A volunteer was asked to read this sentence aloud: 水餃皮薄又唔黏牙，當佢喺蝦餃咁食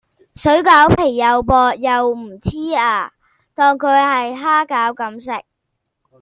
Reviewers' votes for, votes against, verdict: 1, 2, rejected